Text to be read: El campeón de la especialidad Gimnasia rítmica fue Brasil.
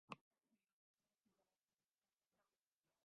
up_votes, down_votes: 0, 2